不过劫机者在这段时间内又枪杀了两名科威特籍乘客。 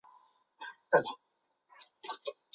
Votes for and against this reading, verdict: 0, 2, rejected